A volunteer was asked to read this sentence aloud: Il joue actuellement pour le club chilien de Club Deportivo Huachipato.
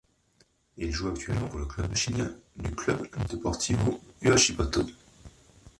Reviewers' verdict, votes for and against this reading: rejected, 0, 2